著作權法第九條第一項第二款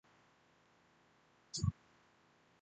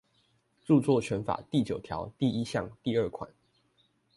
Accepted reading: second